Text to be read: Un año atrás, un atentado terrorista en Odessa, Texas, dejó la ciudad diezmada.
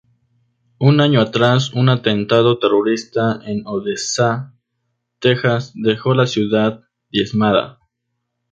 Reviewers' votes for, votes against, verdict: 2, 0, accepted